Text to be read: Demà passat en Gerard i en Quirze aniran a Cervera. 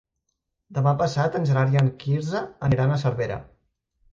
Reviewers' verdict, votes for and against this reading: accepted, 3, 0